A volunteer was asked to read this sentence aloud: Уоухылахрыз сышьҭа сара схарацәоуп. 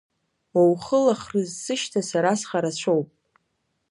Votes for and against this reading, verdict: 2, 0, accepted